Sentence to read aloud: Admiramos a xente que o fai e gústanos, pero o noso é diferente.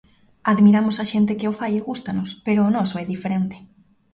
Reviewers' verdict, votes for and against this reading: accepted, 2, 0